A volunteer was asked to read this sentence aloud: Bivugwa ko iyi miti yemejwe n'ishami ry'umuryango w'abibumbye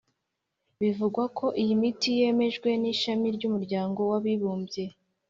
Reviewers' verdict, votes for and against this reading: accepted, 4, 0